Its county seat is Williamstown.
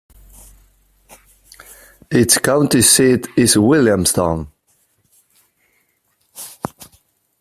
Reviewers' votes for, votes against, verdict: 2, 1, accepted